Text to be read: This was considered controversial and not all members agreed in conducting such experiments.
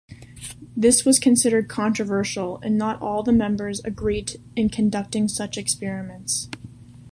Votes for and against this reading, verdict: 2, 0, accepted